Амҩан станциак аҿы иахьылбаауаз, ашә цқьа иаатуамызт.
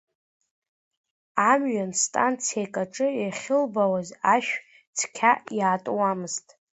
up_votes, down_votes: 2, 0